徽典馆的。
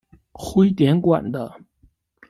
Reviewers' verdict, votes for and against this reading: accepted, 2, 0